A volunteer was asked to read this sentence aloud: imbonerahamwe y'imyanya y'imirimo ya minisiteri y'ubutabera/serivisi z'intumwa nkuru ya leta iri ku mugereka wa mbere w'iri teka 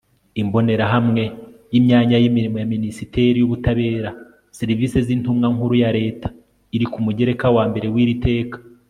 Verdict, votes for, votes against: accepted, 2, 0